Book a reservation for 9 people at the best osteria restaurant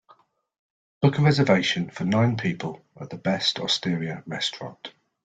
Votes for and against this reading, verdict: 0, 2, rejected